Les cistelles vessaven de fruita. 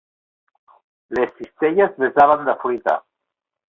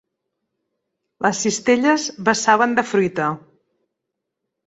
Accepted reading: second